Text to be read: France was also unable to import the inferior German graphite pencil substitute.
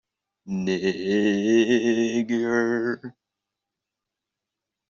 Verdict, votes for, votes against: rejected, 0, 2